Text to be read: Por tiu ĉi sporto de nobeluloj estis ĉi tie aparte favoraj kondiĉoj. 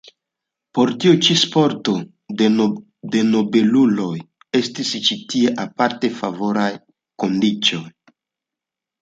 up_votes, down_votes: 2, 0